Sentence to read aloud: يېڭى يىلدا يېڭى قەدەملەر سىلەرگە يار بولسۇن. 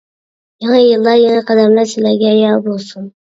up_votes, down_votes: 0, 2